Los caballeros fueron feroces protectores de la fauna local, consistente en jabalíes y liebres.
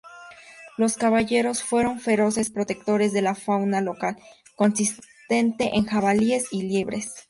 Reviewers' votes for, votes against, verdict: 2, 0, accepted